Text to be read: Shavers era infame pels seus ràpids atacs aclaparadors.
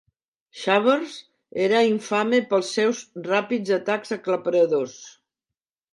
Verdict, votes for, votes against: rejected, 1, 2